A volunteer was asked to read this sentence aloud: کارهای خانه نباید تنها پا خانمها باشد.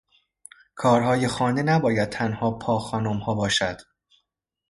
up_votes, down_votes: 2, 0